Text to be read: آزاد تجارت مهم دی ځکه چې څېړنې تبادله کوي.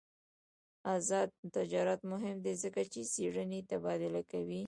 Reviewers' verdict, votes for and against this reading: accepted, 2, 1